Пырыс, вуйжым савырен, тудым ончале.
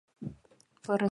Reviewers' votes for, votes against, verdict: 0, 2, rejected